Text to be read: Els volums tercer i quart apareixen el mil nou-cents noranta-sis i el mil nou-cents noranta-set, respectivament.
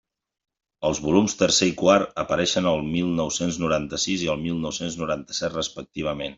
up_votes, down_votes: 3, 0